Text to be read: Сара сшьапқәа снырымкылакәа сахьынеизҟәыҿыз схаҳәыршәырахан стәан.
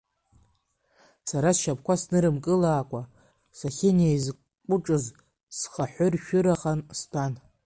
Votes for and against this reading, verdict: 1, 2, rejected